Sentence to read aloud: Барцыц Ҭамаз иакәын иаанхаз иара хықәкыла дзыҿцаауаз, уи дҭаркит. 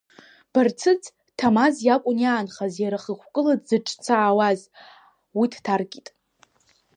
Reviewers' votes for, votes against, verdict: 0, 2, rejected